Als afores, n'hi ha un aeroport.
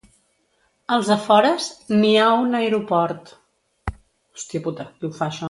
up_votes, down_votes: 1, 2